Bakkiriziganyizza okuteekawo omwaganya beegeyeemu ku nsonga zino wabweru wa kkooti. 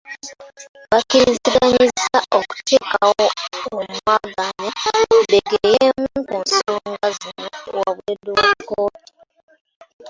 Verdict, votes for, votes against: rejected, 0, 2